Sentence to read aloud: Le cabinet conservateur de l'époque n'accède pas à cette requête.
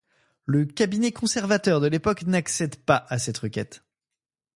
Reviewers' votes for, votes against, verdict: 2, 0, accepted